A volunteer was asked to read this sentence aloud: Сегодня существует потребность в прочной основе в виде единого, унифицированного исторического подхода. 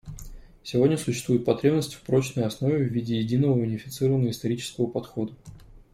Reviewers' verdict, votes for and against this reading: accepted, 2, 0